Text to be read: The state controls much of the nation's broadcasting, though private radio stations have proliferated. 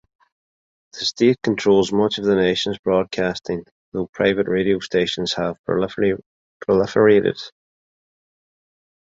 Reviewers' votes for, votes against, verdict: 0, 2, rejected